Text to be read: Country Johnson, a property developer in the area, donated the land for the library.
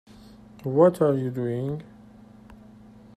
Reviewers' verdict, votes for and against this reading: rejected, 0, 2